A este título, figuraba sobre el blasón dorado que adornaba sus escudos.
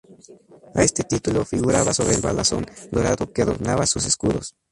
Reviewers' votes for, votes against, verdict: 2, 4, rejected